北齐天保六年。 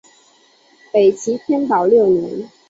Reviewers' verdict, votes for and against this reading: accepted, 2, 1